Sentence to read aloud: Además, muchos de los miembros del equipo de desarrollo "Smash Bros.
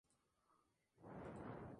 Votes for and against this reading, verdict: 0, 2, rejected